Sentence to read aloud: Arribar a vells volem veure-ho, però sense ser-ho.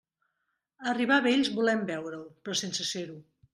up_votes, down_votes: 2, 0